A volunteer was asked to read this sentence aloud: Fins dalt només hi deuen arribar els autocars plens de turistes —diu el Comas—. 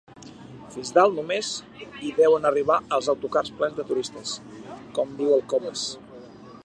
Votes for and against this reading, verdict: 2, 4, rejected